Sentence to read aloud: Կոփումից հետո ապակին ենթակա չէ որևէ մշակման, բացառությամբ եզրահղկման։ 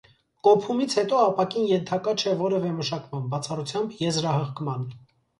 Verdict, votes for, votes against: accepted, 4, 0